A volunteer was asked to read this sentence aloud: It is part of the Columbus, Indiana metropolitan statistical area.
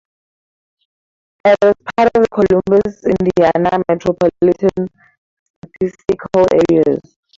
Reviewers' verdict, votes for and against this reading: accepted, 4, 0